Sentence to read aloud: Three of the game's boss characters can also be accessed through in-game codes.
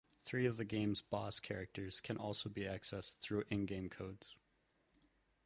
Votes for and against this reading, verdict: 2, 0, accepted